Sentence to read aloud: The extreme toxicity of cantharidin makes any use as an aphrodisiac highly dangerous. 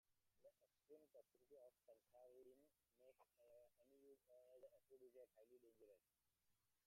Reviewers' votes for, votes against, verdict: 0, 2, rejected